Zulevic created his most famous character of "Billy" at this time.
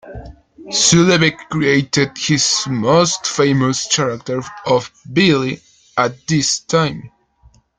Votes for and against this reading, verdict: 2, 1, accepted